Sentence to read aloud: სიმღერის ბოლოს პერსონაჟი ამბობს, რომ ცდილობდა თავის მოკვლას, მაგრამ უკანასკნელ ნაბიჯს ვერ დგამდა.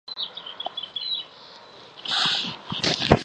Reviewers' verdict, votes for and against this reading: rejected, 0, 2